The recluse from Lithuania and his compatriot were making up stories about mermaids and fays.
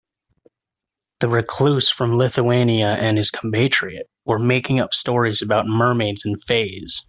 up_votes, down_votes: 2, 0